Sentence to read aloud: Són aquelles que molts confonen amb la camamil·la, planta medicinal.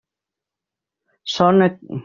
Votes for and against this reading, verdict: 0, 2, rejected